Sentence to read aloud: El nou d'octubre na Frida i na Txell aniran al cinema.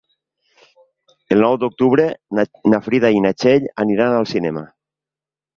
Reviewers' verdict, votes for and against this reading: rejected, 0, 2